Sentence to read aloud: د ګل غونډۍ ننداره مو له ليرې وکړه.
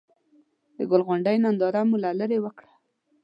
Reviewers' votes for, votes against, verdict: 2, 0, accepted